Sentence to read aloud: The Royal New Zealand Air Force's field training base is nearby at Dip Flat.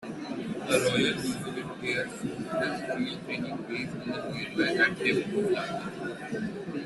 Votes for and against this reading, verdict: 0, 2, rejected